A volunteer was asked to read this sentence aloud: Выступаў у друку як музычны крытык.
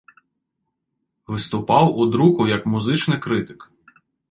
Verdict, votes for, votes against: rejected, 1, 2